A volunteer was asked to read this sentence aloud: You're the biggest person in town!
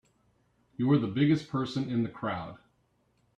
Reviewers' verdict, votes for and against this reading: rejected, 0, 2